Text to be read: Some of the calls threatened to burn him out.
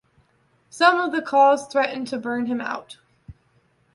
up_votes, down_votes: 2, 0